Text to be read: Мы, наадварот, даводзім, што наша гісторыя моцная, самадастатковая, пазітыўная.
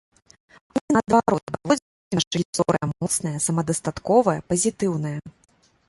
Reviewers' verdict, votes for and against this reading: rejected, 1, 3